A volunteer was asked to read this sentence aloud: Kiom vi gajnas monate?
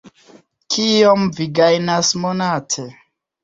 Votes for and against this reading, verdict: 2, 1, accepted